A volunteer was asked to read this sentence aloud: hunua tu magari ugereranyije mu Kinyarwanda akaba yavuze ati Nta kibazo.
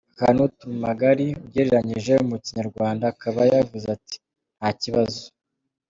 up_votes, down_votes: 2, 1